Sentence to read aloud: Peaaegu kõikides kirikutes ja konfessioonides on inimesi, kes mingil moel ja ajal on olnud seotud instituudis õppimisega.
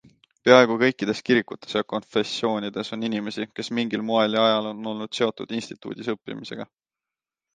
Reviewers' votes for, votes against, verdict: 2, 0, accepted